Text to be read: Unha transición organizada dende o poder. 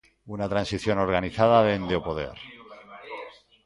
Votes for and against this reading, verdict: 0, 2, rejected